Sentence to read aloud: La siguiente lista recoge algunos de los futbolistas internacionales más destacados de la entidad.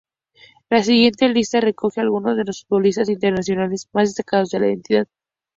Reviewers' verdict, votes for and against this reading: accepted, 2, 0